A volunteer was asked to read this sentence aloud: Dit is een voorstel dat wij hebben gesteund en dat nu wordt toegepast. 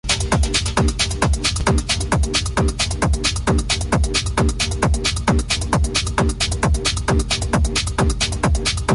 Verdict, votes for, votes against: rejected, 0, 2